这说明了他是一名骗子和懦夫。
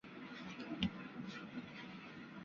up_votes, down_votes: 2, 4